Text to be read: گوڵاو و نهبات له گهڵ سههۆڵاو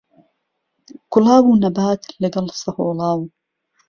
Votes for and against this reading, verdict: 2, 0, accepted